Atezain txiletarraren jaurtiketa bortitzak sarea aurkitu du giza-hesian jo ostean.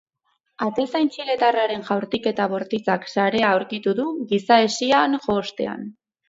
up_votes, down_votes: 2, 2